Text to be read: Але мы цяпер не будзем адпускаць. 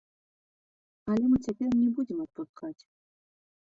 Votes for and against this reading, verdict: 1, 2, rejected